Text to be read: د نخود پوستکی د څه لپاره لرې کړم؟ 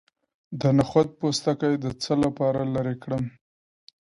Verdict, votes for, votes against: accepted, 2, 0